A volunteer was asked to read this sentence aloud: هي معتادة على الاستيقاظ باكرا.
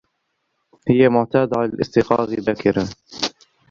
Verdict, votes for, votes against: rejected, 0, 2